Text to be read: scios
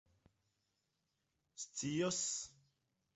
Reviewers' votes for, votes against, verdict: 2, 0, accepted